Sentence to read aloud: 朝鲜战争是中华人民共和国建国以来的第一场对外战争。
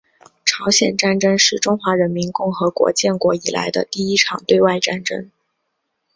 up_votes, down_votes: 2, 0